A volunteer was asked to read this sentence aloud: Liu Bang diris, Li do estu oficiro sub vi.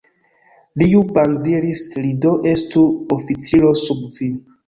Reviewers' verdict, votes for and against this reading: accepted, 2, 1